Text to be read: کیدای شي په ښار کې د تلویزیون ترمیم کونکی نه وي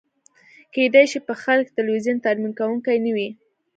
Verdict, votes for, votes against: accepted, 2, 0